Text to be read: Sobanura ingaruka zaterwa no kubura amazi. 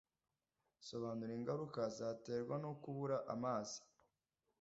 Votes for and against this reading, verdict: 2, 0, accepted